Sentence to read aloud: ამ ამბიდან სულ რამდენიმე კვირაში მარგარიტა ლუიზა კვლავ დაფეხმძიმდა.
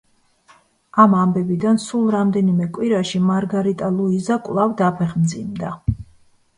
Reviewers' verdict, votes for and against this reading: rejected, 1, 2